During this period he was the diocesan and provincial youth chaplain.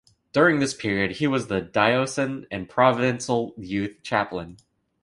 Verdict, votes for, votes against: accepted, 2, 1